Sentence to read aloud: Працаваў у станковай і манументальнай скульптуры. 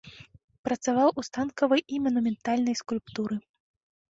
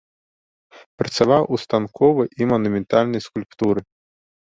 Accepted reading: second